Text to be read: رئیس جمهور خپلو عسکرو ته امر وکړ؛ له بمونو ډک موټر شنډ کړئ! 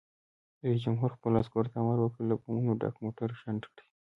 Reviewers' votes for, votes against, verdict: 2, 0, accepted